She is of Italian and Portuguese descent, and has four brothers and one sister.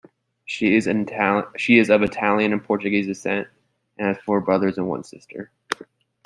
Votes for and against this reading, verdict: 0, 2, rejected